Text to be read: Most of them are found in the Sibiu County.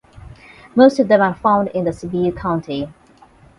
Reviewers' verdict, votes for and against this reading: accepted, 8, 0